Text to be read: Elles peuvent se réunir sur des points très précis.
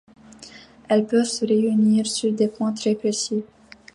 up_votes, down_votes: 2, 0